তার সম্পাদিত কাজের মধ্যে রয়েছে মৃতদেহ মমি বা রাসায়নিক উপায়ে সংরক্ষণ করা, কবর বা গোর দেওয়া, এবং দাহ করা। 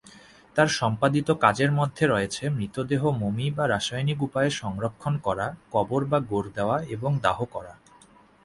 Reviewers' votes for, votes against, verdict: 11, 0, accepted